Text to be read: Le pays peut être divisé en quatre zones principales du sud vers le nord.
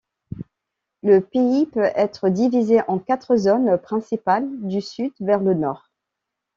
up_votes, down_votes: 2, 0